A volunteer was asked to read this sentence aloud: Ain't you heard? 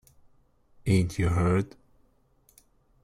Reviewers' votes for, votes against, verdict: 2, 0, accepted